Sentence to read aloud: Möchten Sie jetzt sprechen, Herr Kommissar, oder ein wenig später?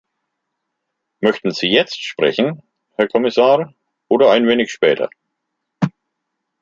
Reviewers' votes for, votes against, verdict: 2, 0, accepted